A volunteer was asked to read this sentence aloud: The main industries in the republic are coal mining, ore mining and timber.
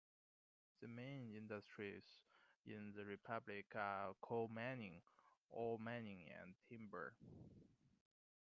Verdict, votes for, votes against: accepted, 2, 1